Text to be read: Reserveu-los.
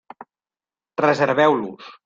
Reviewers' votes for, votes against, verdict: 3, 0, accepted